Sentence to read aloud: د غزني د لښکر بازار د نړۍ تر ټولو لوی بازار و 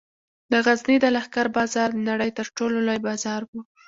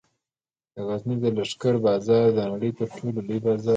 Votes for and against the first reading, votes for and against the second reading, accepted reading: 0, 2, 2, 0, second